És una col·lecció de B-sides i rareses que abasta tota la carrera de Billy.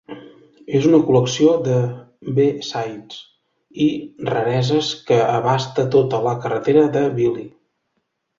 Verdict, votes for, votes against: rejected, 1, 2